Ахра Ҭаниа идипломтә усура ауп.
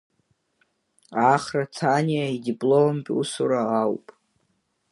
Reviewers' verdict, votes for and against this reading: accepted, 2, 0